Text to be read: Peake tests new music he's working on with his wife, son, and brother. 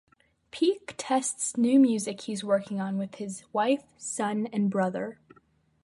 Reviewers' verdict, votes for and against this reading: accepted, 2, 0